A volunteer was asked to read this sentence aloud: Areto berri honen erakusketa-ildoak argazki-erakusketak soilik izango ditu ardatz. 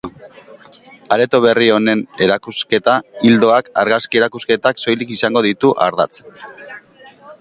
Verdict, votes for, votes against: accepted, 4, 2